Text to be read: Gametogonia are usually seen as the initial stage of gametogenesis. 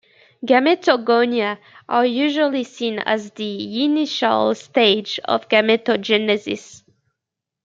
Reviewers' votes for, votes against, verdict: 2, 0, accepted